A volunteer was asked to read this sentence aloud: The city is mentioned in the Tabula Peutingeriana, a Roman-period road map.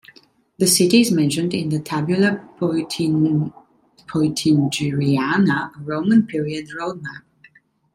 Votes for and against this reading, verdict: 0, 2, rejected